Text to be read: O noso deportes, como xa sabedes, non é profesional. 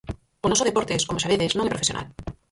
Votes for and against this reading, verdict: 0, 4, rejected